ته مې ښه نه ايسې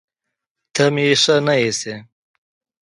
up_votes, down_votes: 2, 0